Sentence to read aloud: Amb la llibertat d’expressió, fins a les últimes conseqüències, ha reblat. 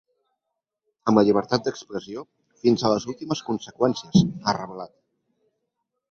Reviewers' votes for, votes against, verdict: 3, 1, accepted